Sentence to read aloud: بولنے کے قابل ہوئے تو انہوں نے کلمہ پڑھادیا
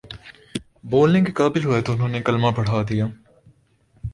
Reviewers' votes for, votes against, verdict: 2, 0, accepted